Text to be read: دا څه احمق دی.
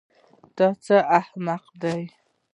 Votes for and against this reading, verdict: 1, 2, rejected